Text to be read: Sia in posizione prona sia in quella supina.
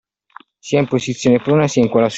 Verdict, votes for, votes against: rejected, 1, 2